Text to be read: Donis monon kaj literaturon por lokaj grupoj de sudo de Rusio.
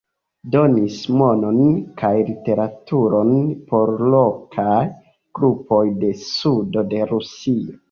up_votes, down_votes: 2, 0